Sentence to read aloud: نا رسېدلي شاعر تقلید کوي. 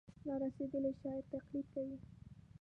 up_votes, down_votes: 0, 2